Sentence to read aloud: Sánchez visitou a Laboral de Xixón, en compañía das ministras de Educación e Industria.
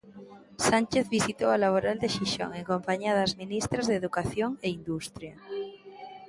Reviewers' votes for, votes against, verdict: 2, 0, accepted